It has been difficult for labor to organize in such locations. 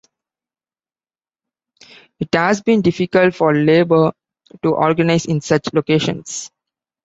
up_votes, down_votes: 2, 0